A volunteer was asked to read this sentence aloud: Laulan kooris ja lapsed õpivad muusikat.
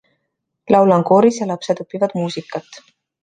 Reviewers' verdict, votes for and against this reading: accepted, 2, 0